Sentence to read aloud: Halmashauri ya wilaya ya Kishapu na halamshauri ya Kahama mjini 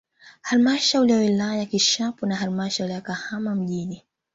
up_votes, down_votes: 2, 1